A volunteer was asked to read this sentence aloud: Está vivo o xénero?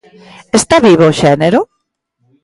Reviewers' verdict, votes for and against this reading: accepted, 2, 0